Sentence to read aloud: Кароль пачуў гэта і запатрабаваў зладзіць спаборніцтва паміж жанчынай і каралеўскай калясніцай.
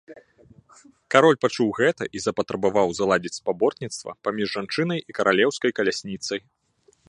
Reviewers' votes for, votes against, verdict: 3, 0, accepted